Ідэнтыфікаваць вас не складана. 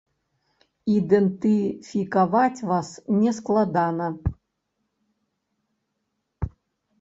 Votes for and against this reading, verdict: 3, 0, accepted